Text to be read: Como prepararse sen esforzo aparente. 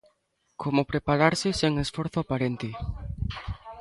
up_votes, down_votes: 0, 2